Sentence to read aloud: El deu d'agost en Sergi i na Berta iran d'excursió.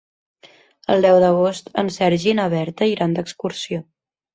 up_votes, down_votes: 3, 0